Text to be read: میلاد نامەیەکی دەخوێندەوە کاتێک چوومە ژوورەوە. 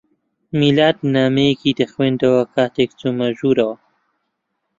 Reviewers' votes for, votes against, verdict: 4, 0, accepted